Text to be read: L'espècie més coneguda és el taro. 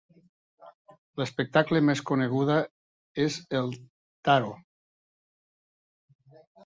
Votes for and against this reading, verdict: 1, 2, rejected